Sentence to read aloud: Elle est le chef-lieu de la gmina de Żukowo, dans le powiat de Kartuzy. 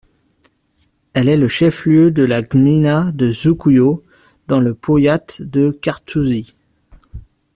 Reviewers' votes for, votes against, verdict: 2, 1, accepted